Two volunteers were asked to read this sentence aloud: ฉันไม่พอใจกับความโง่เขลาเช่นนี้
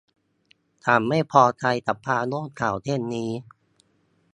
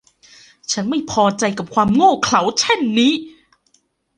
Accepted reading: second